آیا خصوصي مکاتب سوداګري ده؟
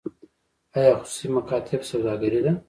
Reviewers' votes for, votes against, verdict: 0, 2, rejected